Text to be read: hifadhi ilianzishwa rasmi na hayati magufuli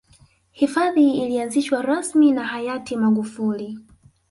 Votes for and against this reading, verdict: 1, 2, rejected